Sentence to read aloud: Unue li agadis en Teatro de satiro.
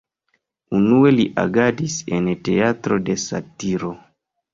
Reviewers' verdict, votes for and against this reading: accepted, 2, 0